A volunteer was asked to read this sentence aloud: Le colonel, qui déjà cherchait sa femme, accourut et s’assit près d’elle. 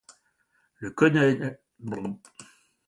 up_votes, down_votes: 0, 2